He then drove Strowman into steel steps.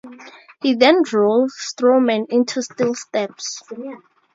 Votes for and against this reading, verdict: 2, 0, accepted